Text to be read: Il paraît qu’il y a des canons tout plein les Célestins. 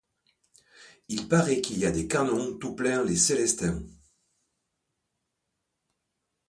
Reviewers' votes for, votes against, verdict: 0, 2, rejected